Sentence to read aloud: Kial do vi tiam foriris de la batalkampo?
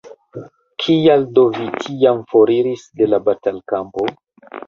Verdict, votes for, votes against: accepted, 2, 1